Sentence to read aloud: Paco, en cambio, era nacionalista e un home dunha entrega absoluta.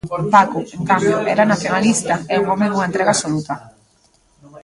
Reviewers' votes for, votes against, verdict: 1, 2, rejected